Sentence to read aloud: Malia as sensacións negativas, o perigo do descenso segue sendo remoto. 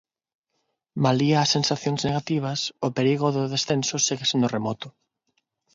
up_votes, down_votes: 0, 6